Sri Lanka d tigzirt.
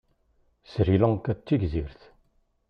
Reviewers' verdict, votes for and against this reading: accepted, 2, 0